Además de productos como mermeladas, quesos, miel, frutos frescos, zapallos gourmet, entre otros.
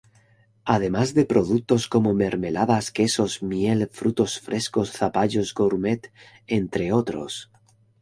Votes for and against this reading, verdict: 2, 0, accepted